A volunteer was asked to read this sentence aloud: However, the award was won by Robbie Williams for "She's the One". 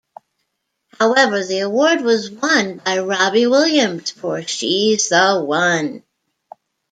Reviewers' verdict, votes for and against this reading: accepted, 2, 0